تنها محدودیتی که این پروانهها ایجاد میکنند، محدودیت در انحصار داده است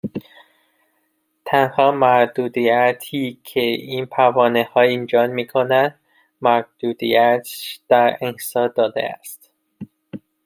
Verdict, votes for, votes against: rejected, 0, 2